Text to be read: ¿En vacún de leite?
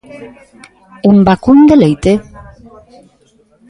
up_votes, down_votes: 2, 1